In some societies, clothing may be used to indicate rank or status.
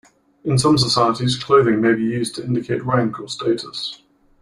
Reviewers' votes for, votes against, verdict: 2, 0, accepted